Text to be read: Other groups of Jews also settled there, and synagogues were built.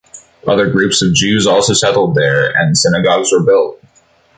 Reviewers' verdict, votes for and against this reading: accepted, 2, 0